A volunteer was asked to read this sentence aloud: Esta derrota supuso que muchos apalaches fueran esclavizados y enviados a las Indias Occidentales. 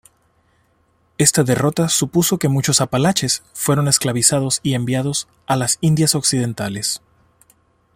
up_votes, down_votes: 1, 2